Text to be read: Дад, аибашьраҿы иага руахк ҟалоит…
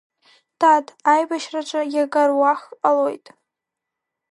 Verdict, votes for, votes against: accepted, 2, 1